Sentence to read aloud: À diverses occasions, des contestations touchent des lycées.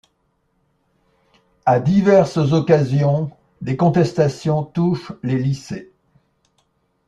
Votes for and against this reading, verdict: 1, 2, rejected